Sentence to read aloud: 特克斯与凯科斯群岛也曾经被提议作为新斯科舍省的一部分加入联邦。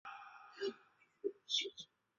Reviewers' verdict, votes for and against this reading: accepted, 5, 3